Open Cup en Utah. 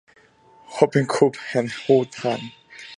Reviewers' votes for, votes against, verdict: 0, 2, rejected